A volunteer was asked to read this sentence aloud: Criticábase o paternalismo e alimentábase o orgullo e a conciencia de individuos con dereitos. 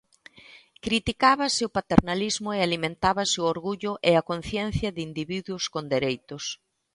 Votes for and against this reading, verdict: 2, 0, accepted